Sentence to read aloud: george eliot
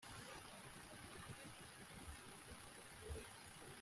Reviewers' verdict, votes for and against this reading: rejected, 0, 2